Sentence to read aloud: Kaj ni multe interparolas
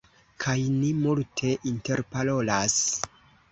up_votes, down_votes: 3, 0